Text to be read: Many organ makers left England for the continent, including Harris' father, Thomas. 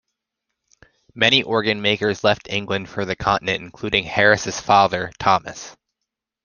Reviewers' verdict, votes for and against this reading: accepted, 2, 0